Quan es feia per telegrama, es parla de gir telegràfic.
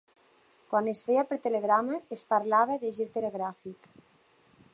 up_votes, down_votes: 0, 2